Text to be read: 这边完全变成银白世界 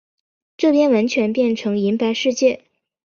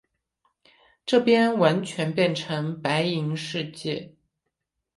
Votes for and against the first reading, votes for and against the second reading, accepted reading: 4, 0, 3, 3, first